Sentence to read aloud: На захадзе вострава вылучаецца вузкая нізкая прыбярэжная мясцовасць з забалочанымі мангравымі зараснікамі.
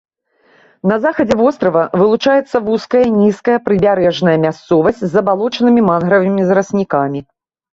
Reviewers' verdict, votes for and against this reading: accepted, 2, 0